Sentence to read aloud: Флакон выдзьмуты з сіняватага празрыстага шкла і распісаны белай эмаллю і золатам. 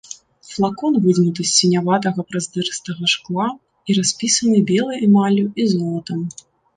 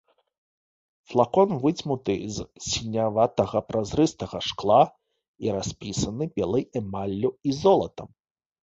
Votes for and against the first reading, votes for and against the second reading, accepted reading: 1, 2, 2, 0, second